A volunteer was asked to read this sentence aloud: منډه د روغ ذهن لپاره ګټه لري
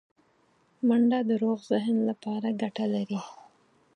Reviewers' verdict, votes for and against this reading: accepted, 4, 0